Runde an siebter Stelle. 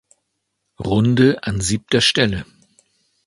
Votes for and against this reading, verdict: 2, 0, accepted